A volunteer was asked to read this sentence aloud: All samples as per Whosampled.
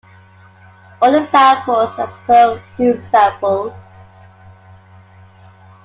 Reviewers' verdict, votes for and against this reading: rejected, 0, 2